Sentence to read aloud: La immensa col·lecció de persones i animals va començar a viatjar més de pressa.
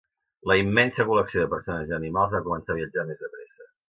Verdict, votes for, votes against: rejected, 0, 2